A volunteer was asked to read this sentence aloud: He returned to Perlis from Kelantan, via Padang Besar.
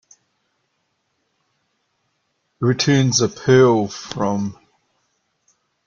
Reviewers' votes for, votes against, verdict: 0, 2, rejected